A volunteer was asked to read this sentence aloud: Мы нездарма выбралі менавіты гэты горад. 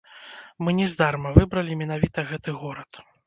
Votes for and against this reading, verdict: 0, 3, rejected